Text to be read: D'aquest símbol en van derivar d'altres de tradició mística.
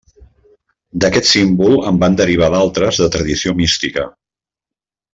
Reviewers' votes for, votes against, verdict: 2, 0, accepted